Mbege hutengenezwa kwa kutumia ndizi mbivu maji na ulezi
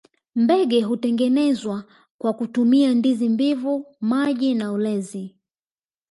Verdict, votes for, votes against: accepted, 2, 0